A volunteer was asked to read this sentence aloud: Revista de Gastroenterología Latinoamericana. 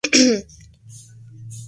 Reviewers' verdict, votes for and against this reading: rejected, 0, 2